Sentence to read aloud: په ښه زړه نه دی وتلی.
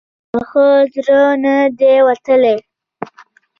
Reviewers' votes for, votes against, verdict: 2, 0, accepted